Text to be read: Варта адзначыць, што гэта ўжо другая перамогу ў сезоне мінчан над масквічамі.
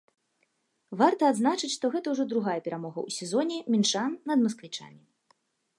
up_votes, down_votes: 2, 1